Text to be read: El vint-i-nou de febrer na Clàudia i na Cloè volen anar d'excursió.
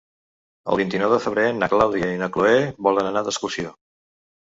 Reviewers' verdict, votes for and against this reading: rejected, 1, 2